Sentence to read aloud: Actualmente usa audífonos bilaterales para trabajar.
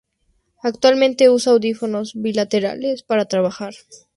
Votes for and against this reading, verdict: 2, 0, accepted